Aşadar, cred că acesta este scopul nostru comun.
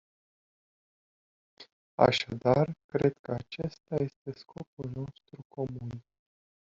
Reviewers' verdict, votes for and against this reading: rejected, 1, 2